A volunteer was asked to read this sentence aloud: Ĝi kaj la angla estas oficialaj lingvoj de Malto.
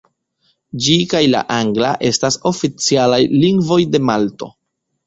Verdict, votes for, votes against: accepted, 2, 0